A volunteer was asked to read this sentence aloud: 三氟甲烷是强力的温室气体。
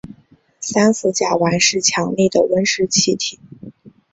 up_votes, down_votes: 2, 0